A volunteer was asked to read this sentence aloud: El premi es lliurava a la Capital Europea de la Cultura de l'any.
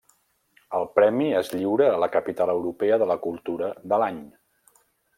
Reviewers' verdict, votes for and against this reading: rejected, 0, 2